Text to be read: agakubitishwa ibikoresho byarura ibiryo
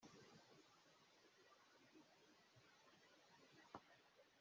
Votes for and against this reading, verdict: 1, 2, rejected